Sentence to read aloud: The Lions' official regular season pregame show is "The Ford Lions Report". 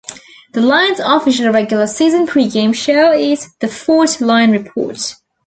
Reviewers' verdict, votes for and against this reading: rejected, 1, 2